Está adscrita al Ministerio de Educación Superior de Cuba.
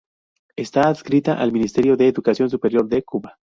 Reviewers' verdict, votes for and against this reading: accepted, 4, 0